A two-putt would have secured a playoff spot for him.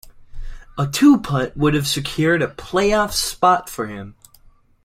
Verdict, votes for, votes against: accepted, 2, 0